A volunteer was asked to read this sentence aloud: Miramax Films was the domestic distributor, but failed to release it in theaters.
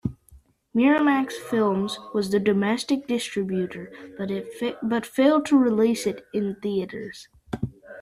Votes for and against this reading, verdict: 1, 2, rejected